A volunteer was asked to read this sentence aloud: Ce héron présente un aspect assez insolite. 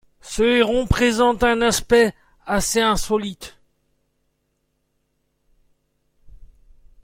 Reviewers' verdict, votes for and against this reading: accepted, 2, 0